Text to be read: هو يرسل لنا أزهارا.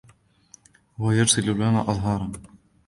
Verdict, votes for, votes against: accepted, 2, 0